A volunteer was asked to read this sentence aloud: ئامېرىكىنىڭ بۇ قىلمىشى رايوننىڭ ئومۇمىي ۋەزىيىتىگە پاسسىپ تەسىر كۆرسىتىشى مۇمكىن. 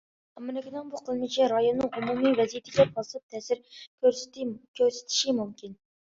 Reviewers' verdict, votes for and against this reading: rejected, 0, 2